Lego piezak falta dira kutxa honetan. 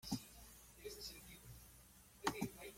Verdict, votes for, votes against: rejected, 0, 2